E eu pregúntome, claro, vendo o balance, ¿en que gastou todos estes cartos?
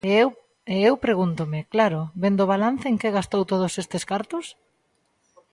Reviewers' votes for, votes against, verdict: 0, 2, rejected